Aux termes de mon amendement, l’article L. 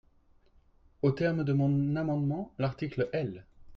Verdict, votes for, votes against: rejected, 0, 2